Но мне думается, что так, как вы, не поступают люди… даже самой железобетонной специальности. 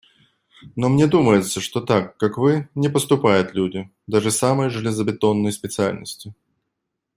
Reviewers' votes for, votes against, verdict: 2, 0, accepted